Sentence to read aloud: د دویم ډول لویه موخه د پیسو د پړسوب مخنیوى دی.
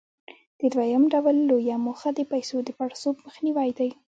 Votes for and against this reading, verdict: 1, 2, rejected